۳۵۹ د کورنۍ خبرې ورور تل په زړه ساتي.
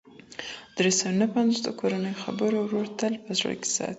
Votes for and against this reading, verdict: 0, 2, rejected